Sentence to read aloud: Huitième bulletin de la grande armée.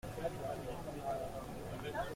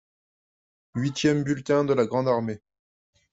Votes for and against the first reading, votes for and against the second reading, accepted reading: 0, 2, 2, 0, second